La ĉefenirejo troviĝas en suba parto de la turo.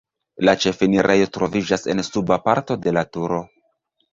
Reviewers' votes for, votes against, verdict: 2, 0, accepted